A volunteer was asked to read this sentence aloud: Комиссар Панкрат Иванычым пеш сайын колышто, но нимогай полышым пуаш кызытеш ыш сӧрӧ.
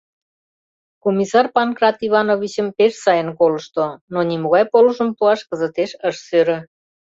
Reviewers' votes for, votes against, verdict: 1, 2, rejected